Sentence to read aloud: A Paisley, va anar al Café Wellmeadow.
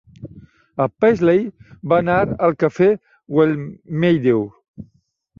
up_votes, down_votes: 1, 2